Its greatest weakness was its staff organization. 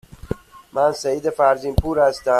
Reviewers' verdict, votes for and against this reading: rejected, 0, 2